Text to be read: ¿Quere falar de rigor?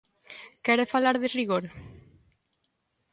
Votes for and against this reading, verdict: 2, 0, accepted